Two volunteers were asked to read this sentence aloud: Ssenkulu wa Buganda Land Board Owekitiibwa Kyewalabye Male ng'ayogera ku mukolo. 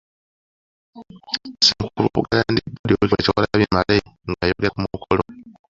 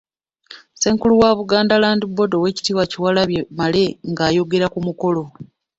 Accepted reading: second